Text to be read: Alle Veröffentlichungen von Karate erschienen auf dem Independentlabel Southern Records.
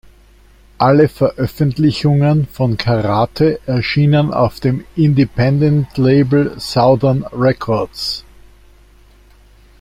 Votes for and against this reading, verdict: 1, 2, rejected